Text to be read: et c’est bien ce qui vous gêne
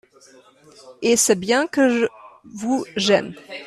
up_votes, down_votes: 0, 2